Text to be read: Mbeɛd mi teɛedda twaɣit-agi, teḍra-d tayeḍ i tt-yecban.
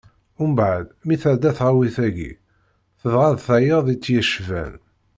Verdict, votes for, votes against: rejected, 1, 2